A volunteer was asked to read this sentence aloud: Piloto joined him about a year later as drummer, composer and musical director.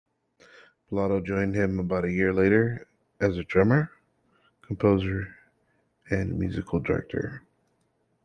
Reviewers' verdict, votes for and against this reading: accepted, 2, 1